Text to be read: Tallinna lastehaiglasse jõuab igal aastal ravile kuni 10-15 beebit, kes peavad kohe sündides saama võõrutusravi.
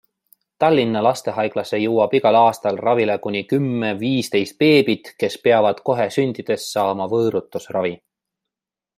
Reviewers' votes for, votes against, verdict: 0, 2, rejected